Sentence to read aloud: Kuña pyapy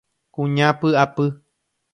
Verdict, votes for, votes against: rejected, 1, 2